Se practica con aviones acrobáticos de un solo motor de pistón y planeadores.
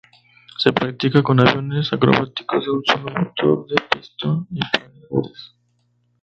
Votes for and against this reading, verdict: 0, 2, rejected